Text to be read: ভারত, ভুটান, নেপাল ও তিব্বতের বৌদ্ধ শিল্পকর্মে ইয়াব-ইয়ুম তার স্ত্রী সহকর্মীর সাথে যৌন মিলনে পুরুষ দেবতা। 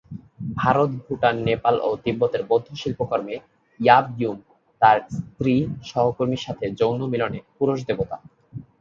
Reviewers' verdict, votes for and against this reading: accepted, 3, 0